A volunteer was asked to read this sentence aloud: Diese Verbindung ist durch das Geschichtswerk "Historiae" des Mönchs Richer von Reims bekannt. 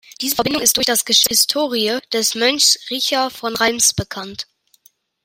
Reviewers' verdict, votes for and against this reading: rejected, 1, 2